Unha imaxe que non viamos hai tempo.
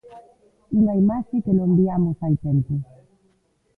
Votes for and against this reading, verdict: 0, 2, rejected